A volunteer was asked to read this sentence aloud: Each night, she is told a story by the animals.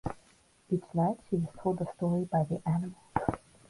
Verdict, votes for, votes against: rejected, 2, 4